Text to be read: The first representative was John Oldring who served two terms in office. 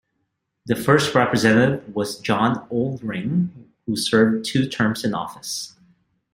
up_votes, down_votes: 2, 0